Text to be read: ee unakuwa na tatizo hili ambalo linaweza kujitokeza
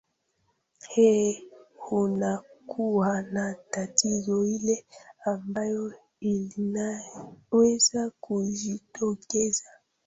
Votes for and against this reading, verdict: 0, 2, rejected